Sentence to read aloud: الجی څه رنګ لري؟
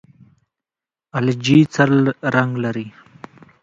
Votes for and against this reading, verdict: 1, 2, rejected